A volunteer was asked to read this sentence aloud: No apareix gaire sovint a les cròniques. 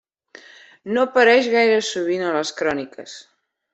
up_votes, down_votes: 3, 0